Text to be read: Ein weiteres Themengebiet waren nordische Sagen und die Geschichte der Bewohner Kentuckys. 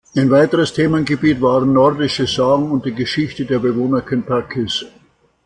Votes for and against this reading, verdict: 2, 0, accepted